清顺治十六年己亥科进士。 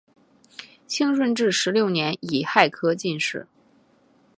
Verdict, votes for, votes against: accepted, 3, 0